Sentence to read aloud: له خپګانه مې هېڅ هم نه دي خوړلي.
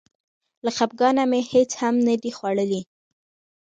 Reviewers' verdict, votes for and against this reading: rejected, 0, 2